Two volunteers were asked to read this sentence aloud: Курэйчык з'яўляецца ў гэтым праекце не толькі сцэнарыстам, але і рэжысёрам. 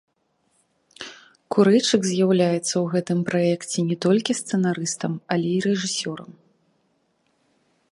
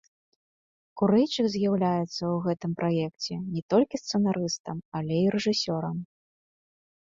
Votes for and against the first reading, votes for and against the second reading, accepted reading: 0, 2, 2, 1, second